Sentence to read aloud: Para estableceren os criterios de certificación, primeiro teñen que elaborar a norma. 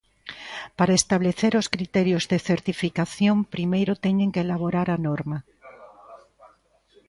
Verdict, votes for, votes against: rejected, 0, 2